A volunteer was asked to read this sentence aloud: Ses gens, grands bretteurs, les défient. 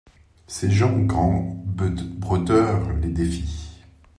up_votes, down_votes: 0, 2